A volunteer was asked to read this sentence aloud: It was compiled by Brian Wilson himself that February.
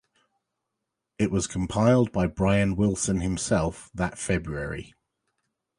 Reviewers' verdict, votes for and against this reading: accepted, 2, 0